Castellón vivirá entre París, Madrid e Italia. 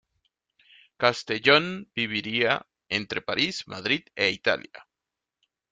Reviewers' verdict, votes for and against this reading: rejected, 0, 2